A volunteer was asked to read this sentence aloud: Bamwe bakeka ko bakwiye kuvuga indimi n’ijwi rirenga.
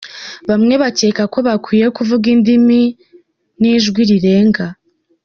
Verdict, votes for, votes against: rejected, 1, 2